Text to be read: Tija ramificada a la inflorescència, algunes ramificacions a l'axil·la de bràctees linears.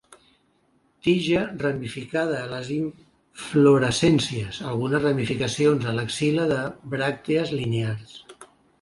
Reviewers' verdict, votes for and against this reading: rejected, 1, 2